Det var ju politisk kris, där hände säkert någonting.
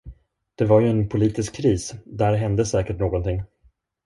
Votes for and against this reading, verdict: 1, 2, rejected